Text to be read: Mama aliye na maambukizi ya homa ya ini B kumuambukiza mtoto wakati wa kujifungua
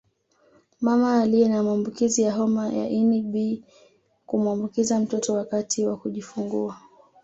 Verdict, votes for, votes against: accepted, 2, 0